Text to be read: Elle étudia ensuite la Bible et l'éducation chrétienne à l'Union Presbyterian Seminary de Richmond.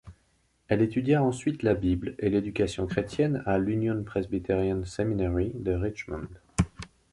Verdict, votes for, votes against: accepted, 3, 0